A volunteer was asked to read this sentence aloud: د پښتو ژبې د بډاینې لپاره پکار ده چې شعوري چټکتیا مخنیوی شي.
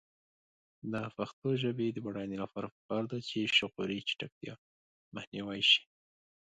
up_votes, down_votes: 2, 0